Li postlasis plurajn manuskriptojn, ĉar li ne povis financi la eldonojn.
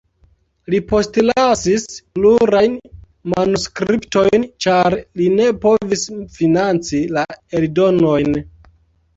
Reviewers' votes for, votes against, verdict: 2, 0, accepted